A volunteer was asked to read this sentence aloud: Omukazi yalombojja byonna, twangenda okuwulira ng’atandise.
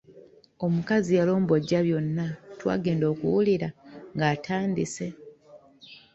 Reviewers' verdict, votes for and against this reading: accepted, 2, 0